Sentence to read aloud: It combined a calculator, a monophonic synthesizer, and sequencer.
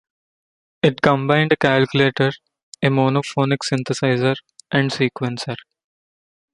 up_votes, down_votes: 2, 0